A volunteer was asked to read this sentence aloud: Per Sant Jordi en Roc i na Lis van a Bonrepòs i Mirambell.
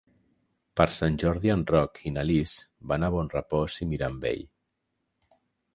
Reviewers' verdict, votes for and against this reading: accepted, 3, 0